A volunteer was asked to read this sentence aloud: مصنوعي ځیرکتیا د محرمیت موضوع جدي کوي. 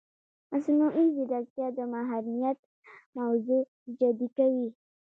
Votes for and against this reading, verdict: 0, 2, rejected